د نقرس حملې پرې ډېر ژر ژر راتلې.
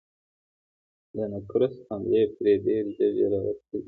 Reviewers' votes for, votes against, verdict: 2, 0, accepted